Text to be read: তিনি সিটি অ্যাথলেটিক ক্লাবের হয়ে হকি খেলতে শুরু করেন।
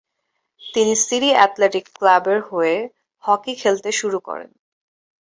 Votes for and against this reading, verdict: 4, 0, accepted